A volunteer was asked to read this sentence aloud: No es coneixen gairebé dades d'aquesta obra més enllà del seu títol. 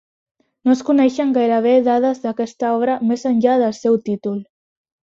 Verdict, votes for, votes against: accepted, 3, 0